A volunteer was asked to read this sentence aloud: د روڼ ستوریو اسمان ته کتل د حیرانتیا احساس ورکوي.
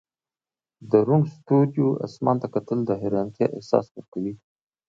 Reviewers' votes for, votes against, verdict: 2, 0, accepted